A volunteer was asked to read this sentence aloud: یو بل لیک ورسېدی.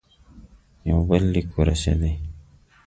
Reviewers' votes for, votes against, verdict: 2, 0, accepted